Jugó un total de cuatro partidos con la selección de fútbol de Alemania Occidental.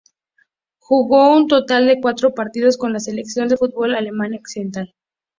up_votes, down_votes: 0, 2